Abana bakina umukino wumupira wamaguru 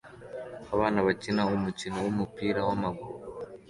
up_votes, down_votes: 2, 0